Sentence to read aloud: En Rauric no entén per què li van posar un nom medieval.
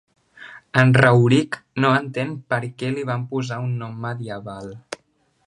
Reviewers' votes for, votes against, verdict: 3, 0, accepted